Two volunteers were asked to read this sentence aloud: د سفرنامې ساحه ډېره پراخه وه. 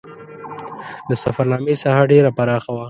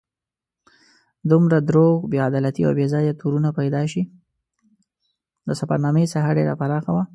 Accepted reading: first